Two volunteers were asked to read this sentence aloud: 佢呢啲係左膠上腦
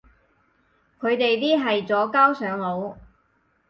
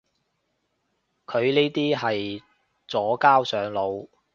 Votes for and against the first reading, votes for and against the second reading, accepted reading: 2, 4, 2, 0, second